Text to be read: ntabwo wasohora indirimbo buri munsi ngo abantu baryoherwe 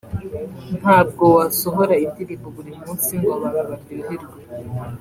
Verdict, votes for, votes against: accepted, 2, 0